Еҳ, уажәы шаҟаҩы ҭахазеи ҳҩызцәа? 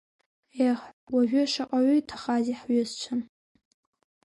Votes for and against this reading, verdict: 3, 0, accepted